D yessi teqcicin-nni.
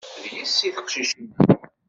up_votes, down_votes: 0, 2